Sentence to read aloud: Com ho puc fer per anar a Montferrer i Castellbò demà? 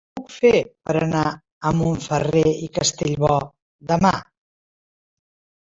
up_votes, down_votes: 1, 3